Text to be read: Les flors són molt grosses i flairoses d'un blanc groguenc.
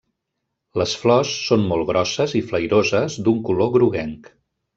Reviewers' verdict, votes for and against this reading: rejected, 0, 2